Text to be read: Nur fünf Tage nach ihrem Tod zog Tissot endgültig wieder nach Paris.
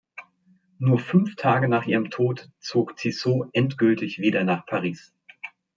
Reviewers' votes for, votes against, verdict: 2, 0, accepted